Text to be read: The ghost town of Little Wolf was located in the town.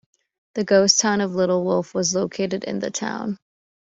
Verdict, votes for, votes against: accepted, 2, 0